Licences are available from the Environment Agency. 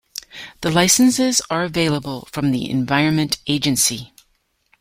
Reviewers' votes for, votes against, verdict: 1, 2, rejected